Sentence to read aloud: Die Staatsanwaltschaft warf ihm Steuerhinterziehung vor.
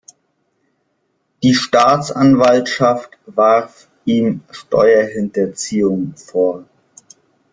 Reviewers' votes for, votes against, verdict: 2, 0, accepted